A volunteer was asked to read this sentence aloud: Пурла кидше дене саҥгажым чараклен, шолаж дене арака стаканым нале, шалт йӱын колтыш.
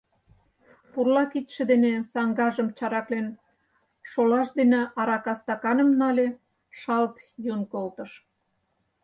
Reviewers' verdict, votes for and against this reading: accepted, 4, 0